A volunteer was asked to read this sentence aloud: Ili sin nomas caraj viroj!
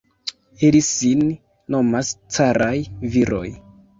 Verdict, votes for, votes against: accepted, 2, 1